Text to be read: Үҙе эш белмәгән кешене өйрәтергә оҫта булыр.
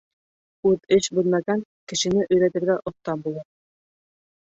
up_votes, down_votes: 1, 3